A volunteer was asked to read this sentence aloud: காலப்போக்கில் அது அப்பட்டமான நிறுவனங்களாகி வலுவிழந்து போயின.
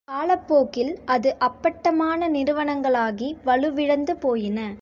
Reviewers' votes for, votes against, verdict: 2, 1, accepted